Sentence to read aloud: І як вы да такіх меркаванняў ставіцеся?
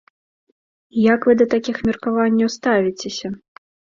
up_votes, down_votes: 2, 0